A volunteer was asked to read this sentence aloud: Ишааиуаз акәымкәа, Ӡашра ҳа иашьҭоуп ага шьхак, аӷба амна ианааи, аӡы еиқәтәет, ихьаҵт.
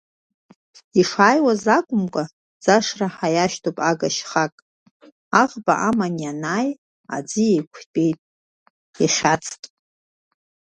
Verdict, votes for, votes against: rejected, 1, 2